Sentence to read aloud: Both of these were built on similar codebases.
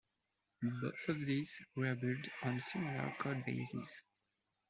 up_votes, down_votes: 2, 0